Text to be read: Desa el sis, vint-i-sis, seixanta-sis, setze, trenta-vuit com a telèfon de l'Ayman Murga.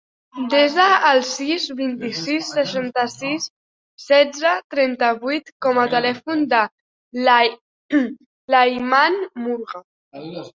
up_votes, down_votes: 0, 2